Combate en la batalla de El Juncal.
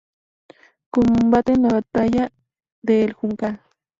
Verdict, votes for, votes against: accepted, 4, 0